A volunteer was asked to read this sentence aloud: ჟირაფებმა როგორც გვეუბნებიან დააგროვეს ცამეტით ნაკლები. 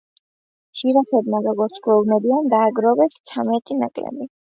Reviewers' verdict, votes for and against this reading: accepted, 2, 0